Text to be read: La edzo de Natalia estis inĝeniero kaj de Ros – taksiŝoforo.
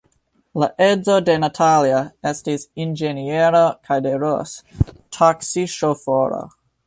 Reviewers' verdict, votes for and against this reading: accepted, 2, 1